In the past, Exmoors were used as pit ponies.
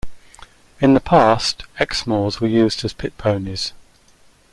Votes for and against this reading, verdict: 2, 0, accepted